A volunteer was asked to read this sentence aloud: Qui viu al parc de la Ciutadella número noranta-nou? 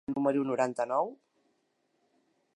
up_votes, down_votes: 0, 2